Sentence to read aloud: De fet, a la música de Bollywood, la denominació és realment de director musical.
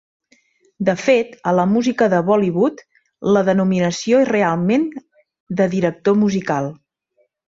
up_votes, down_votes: 4, 0